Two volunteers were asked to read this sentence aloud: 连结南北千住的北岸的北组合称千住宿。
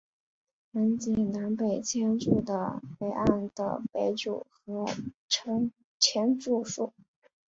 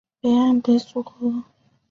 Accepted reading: first